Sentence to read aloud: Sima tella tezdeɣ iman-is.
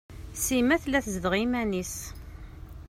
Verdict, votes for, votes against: accepted, 2, 0